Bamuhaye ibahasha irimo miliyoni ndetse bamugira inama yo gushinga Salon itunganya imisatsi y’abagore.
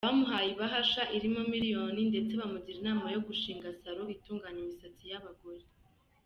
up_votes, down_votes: 2, 0